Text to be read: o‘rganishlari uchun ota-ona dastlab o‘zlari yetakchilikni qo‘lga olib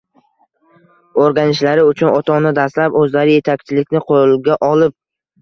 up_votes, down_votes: 2, 1